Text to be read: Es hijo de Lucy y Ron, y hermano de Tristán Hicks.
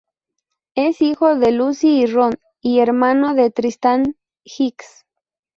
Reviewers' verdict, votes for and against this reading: accepted, 4, 0